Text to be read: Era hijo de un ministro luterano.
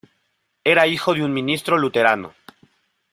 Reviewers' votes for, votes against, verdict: 2, 1, accepted